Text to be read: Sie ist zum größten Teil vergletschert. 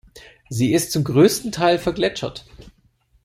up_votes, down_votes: 2, 0